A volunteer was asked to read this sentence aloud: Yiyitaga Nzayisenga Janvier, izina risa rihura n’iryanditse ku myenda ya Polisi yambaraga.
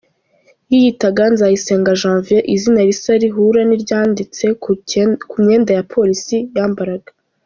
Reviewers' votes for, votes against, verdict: 1, 2, rejected